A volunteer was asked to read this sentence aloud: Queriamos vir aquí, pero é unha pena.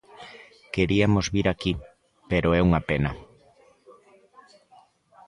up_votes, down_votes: 1, 2